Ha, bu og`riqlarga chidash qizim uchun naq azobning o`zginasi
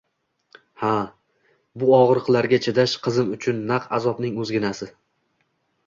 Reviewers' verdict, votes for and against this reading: accepted, 2, 0